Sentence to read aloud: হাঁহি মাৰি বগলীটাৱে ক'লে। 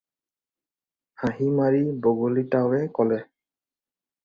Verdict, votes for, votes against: rejected, 2, 2